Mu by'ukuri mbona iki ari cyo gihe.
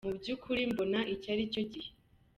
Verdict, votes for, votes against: accepted, 2, 0